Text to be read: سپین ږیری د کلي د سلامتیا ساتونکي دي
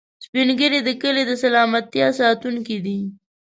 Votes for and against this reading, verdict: 1, 2, rejected